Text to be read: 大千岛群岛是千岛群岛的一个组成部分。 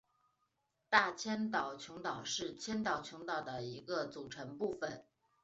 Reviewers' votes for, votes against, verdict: 2, 0, accepted